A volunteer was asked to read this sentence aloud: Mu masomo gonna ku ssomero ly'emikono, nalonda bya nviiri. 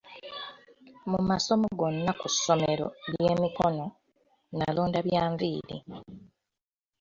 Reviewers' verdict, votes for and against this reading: rejected, 1, 2